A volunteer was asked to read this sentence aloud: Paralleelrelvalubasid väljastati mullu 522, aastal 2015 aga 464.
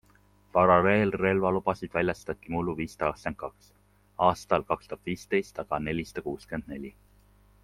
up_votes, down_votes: 0, 2